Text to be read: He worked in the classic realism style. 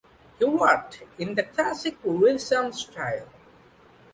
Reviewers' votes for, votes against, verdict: 1, 2, rejected